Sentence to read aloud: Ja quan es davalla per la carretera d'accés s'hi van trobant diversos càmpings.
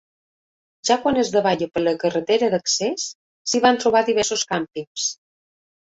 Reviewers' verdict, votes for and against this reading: accepted, 3, 1